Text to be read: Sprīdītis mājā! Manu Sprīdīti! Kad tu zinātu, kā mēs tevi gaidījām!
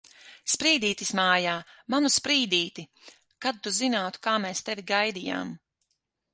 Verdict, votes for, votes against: accepted, 6, 0